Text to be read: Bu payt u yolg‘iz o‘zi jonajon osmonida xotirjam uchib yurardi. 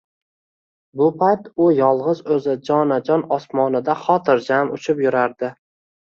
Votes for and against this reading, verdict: 2, 0, accepted